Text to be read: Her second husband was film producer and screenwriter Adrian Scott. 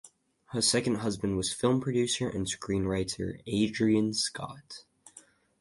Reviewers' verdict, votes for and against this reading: accepted, 4, 0